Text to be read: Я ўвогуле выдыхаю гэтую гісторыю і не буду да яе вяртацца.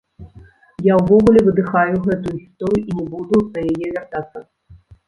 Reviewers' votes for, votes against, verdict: 1, 2, rejected